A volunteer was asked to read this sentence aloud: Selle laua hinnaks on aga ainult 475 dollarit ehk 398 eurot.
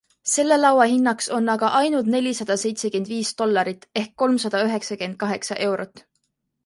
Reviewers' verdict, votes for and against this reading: rejected, 0, 2